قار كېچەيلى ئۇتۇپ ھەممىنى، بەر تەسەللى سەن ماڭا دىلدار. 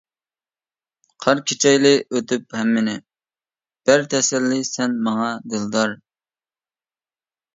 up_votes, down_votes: 0, 2